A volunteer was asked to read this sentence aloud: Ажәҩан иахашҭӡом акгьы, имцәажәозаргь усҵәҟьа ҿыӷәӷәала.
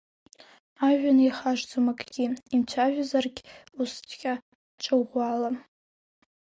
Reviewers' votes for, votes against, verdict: 1, 2, rejected